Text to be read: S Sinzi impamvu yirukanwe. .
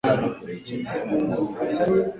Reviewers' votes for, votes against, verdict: 0, 2, rejected